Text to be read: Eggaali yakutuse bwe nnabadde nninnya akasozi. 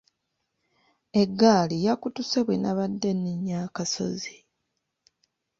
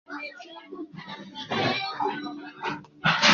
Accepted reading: first